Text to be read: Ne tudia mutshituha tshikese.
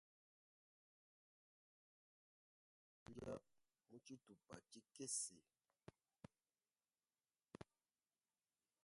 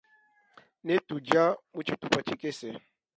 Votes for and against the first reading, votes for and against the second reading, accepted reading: 0, 2, 2, 1, second